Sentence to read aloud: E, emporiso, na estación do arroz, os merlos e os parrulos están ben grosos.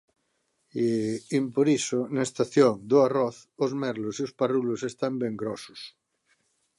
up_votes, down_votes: 2, 0